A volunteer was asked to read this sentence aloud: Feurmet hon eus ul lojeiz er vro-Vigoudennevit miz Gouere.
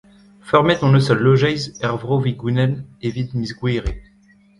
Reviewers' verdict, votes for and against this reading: rejected, 0, 2